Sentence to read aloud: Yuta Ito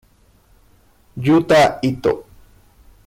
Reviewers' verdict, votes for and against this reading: accepted, 2, 1